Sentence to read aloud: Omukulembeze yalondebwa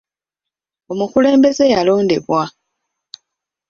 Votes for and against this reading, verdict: 0, 2, rejected